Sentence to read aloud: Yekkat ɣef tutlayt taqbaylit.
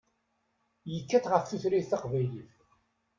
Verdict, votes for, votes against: accepted, 2, 0